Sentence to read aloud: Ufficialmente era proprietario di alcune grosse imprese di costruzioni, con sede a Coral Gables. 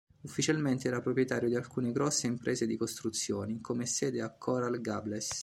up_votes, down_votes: 1, 2